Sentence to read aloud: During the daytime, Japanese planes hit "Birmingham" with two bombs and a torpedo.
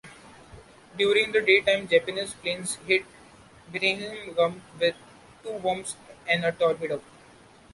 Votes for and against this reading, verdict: 0, 2, rejected